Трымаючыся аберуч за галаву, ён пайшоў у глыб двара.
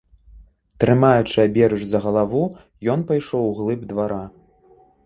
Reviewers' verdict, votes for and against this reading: rejected, 0, 2